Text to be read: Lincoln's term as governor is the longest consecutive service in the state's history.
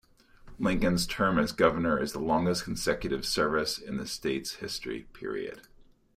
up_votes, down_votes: 2, 0